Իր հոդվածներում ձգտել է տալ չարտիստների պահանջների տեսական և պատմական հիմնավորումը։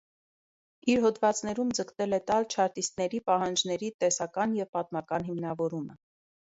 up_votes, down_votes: 2, 0